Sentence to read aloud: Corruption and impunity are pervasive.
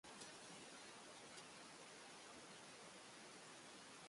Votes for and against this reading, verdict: 0, 2, rejected